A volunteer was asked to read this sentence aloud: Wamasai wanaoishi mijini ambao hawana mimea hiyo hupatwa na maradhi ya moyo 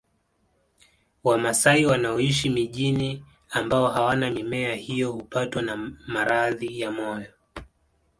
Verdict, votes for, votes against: accepted, 2, 1